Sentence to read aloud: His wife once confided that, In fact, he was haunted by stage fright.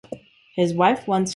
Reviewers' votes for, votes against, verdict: 0, 2, rejected